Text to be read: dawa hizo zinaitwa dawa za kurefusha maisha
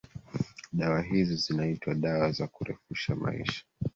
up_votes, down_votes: 3, 1